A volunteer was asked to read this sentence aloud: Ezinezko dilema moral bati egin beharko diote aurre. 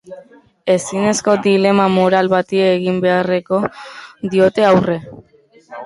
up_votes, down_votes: 0, 3